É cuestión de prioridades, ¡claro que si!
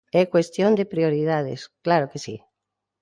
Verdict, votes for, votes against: accepted, 2, 1